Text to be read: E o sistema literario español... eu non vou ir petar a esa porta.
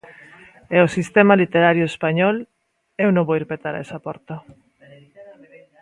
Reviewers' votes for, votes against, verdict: 1, 2, rejected